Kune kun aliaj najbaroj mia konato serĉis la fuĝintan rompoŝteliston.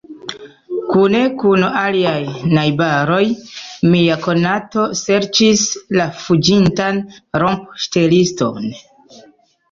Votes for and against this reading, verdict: 1, 2, rejected